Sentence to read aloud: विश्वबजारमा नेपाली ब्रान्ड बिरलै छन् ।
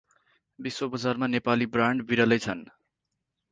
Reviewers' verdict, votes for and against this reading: accepted, 4, 0